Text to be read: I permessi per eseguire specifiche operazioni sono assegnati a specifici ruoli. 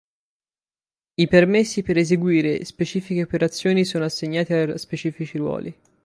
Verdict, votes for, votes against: rejected, 2, 4